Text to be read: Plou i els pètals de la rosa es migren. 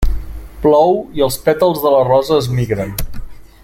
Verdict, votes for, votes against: accepted, 3, 0